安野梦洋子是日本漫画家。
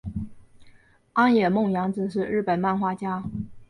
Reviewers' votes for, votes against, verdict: 2, 1, accepted